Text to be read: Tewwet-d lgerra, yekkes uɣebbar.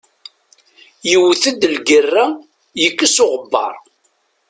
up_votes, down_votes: 1, 2